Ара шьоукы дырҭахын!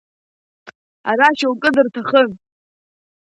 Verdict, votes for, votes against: rejected, 1, 2